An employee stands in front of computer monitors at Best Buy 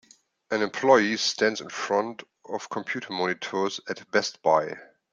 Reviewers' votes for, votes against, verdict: 2, 0, accepted